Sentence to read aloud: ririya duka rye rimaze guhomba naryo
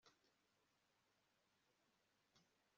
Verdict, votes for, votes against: rejected, 1, 2